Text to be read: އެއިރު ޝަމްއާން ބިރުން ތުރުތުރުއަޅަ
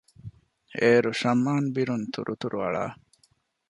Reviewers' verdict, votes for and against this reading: rejected, 0, 2